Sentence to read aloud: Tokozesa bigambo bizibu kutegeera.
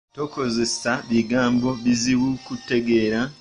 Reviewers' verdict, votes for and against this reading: rejected, 0, 2